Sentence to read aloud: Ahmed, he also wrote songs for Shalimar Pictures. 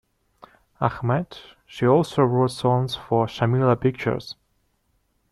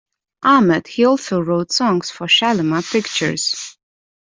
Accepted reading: second